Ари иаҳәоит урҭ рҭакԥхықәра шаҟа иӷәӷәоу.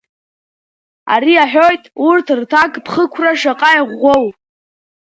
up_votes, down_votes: 2, 0